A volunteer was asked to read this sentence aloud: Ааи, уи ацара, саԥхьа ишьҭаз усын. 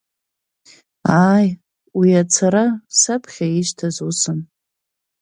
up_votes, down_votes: 2, 0